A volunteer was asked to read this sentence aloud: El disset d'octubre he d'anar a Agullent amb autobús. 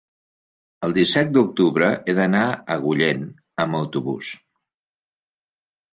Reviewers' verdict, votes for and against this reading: accepted, 3, 0